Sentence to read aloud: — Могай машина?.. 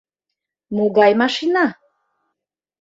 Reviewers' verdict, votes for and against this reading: accepted, 2, 0